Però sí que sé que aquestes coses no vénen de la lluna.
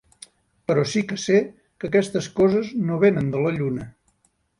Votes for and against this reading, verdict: 2, 0, accepted